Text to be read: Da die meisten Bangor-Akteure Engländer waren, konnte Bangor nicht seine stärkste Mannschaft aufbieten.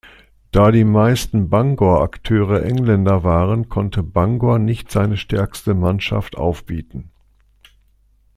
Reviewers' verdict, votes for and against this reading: accepted, 2, 0